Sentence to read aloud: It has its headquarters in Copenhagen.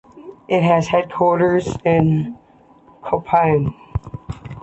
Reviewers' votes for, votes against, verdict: 0, 2, rejected